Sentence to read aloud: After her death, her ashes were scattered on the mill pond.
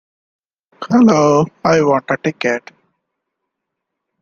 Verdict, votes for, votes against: rejected, 0, 2